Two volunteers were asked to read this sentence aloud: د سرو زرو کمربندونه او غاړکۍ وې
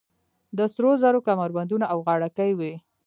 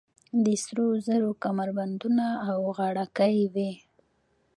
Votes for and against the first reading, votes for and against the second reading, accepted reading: 2, 0, 1, 2, first